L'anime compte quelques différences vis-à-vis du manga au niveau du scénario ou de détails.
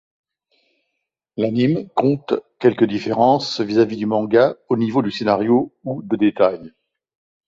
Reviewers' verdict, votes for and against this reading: rejected, 1, 2